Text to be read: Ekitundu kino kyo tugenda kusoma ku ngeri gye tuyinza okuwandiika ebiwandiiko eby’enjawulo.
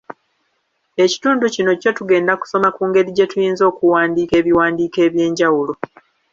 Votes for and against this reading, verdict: 2, 0, accepted